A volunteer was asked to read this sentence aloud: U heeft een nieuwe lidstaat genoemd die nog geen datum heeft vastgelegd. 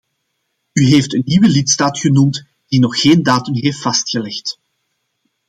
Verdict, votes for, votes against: accepted, 2, 0